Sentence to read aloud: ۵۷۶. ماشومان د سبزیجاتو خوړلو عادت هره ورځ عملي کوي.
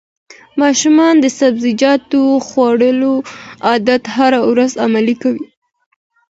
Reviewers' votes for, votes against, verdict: 0, 2, rejected